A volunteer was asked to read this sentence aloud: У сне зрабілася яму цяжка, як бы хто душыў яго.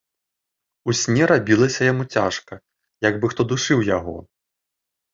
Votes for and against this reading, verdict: 0, 2, rejected